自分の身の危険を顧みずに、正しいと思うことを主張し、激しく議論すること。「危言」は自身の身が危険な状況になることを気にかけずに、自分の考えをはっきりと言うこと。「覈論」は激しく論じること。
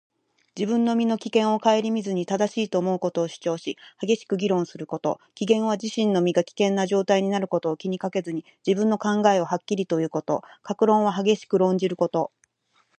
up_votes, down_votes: 4, 0